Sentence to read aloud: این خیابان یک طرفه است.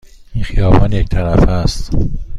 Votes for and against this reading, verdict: 2, 1, accepted